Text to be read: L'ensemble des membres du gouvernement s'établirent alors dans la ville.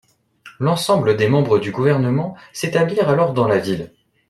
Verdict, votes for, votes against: accepted, 2, 0